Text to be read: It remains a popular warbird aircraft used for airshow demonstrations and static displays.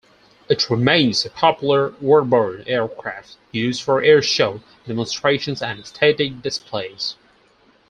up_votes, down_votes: 4, 0